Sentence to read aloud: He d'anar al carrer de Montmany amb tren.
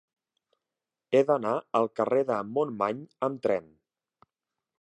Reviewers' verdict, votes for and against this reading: accepted, 3, 0